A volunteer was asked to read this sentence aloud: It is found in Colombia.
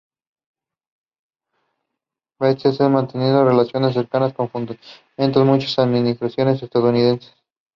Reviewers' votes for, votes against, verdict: 1, 2, rejected